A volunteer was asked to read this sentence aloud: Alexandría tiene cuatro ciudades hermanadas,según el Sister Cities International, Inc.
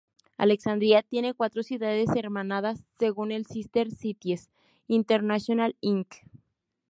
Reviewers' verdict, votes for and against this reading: rejected, 0, 2